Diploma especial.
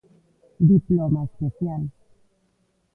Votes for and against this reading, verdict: 2, 1, accepted